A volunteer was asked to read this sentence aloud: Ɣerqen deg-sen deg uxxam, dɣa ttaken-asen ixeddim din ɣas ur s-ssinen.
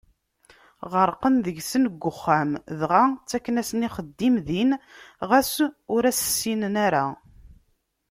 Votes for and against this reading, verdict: 0, 2, rejected